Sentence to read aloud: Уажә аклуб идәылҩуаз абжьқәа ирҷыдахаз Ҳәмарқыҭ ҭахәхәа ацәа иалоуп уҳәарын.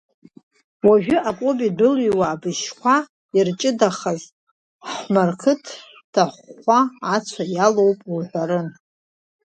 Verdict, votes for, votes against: rejected, 0, 2